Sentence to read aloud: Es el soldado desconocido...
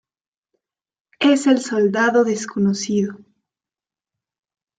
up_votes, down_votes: 1, 2